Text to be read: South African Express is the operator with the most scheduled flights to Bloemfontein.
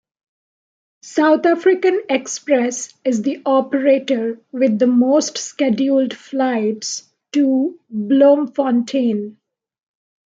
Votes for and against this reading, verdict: 2, 0, accepted